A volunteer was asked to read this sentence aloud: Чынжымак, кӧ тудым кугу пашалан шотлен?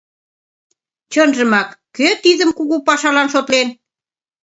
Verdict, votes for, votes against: rejected, 1, 2